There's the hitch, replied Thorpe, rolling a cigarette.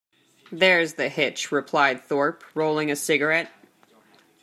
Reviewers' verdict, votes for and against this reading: accepted, 2, 0